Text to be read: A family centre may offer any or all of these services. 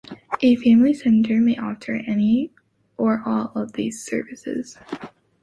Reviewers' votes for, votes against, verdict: 2, 0, accepted